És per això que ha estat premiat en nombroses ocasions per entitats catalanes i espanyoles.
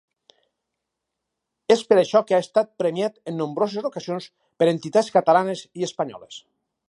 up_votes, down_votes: 2, 2